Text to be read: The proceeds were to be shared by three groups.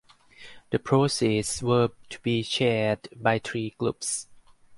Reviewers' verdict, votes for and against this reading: rejected, 0, 2